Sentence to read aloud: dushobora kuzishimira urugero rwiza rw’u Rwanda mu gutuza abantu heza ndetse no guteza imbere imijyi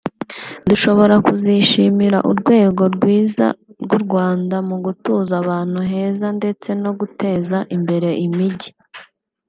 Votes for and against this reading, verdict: 0, 2, rejected